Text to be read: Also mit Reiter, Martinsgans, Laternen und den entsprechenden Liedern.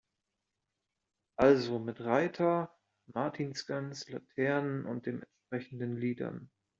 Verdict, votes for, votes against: rejected, 1, 2